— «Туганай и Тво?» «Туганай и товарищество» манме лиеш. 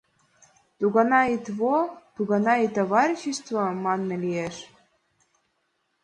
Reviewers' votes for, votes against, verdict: 2, 0, accepted